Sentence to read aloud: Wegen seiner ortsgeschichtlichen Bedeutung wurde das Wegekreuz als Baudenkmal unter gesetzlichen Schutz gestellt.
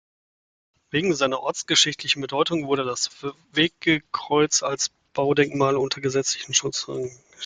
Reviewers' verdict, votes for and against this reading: rejected, 0, 2